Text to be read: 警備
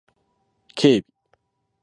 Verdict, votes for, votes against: accepted, 12, 0